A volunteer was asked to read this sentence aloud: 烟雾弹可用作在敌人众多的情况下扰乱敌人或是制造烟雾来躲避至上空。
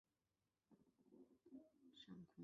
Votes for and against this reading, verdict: 0, 3, rejected